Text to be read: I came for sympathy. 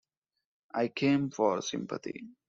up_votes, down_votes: 2, 0